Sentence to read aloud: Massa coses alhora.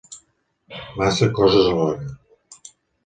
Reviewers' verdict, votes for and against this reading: accepted, 2, 0